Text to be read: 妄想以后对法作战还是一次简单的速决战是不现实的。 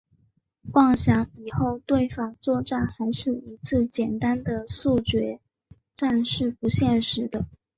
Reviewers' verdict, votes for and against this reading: rejected, 0, 2